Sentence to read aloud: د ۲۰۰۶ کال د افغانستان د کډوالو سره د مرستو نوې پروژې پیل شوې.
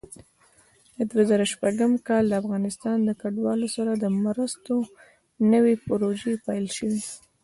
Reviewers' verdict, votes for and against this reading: rejected, 0, 2